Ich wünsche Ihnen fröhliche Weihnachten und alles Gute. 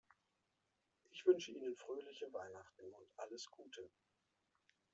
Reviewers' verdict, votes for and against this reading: rejected, 0, 2